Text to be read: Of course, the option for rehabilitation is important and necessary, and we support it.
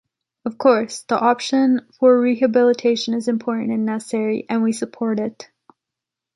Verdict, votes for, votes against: accepted, 2, 1